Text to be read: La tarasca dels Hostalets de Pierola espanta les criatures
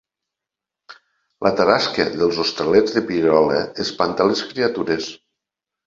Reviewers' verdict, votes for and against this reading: accepted, 2, 0